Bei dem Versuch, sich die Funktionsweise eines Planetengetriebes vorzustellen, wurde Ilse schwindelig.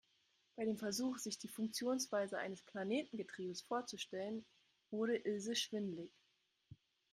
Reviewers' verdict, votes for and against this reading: accepted, 3, 0